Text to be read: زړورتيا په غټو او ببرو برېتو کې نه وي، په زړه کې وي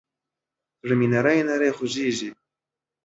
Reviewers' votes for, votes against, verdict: 0, 2, rejected